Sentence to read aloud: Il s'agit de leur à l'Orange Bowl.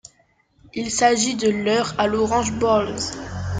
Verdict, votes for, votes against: rejected, 1, 2